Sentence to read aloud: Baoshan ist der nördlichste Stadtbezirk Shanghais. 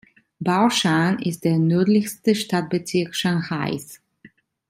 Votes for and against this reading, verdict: 2, 0, accepted